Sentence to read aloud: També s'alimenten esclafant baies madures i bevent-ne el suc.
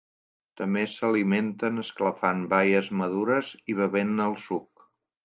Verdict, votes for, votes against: accepted, 2, 0